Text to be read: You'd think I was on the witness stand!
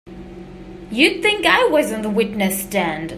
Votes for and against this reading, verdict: 2, 0, accepted